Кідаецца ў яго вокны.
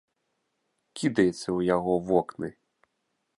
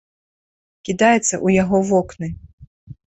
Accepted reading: first